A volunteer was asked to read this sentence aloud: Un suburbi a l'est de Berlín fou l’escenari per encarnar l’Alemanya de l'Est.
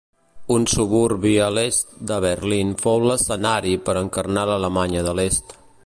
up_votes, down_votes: 3, 0